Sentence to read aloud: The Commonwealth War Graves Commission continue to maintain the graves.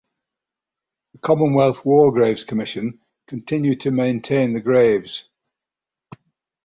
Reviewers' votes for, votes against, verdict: 6, 3, accepted